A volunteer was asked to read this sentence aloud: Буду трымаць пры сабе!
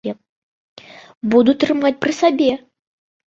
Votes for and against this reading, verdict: 2, 0, accepted